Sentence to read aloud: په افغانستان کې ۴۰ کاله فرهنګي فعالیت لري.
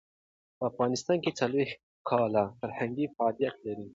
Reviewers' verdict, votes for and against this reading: rejected, 0, 2